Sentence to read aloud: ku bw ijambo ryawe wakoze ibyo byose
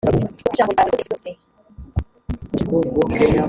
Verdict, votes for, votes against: rejected, 0, 2